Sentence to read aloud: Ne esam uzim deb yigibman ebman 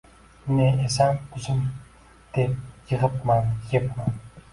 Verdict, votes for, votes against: rejected, 1, 2